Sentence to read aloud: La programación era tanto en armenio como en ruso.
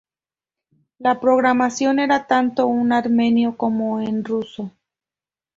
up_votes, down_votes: 0, 2